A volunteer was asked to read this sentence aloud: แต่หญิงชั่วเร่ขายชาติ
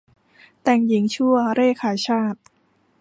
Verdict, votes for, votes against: rejected, 0, 2